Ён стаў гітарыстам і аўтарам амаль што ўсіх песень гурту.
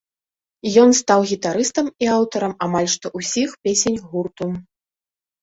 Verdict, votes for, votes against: accepted, 2, 1